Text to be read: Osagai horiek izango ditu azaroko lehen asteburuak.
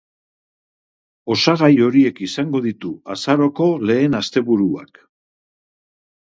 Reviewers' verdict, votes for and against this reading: accepted, 2, 0